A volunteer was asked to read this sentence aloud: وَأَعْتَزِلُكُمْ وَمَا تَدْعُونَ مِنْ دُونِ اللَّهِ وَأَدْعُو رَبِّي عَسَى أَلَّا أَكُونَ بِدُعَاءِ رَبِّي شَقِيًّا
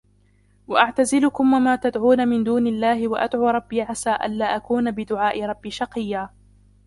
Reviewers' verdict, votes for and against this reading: accepted, 2, 1